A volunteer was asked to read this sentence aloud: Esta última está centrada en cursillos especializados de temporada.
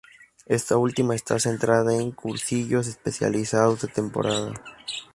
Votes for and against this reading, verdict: 4, 0, accepted